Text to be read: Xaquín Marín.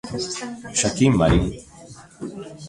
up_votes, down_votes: 0, 2